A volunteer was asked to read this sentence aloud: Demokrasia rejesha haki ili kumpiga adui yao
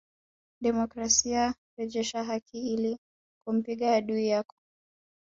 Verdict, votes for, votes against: rejected, 0, 2